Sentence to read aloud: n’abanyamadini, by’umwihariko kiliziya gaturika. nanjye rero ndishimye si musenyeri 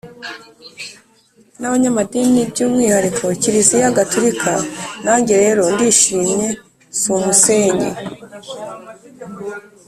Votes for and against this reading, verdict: 1, 2, rejected